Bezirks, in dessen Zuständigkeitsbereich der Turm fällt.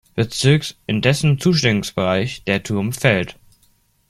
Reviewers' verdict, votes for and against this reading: rejected, 0, 2